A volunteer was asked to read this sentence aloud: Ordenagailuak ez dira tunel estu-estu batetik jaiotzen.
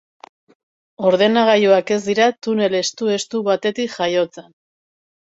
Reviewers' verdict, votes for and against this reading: accepted, 2, 0